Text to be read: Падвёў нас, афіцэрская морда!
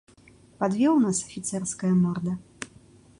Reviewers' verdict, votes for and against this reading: accepted, 2, 0